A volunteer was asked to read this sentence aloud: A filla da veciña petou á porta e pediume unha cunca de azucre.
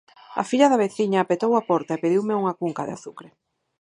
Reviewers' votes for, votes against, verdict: 4, 0, accepted